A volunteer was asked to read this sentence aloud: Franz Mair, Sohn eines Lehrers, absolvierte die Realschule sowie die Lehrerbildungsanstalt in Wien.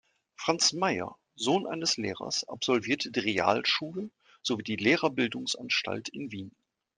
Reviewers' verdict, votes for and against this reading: accepted, 2, 0